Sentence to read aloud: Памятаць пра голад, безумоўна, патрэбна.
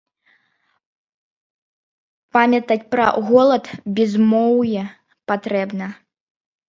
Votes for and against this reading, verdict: 0, 2, rejected